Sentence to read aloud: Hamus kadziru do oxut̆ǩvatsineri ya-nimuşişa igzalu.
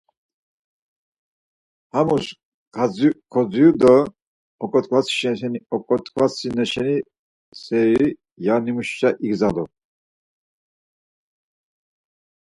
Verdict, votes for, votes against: rejected, 0, 4